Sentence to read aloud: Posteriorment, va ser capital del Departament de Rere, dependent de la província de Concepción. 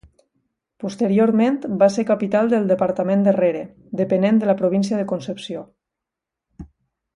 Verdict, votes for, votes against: rejected, 1, 2